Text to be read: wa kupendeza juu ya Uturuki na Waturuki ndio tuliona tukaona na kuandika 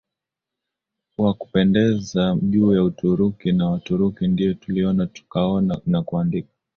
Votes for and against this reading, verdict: 0, 2, rejected